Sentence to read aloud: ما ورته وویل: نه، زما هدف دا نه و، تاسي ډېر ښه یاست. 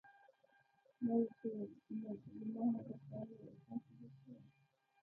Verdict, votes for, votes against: rejected, 0, 2